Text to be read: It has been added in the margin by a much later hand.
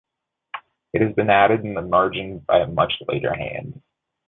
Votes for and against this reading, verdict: 2, 0, accepted